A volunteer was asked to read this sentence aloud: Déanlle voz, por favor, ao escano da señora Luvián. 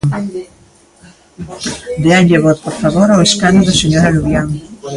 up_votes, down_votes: 0, 2